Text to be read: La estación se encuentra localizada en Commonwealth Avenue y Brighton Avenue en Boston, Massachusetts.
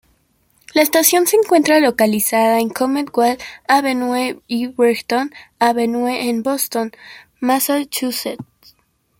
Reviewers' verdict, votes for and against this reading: rejected, 0, 2